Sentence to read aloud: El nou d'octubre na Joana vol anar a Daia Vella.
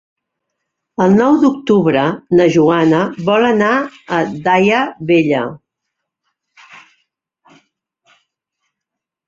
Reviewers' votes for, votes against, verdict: 3, 0, accepted